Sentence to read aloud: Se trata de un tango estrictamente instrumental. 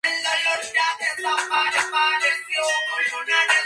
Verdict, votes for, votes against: rejected, 0, 2